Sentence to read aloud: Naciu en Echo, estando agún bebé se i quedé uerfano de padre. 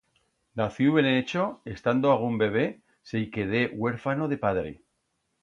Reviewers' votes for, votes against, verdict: 2, 0, accepted